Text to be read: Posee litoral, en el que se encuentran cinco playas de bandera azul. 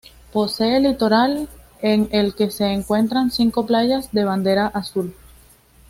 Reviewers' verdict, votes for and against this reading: accepted, 2, 0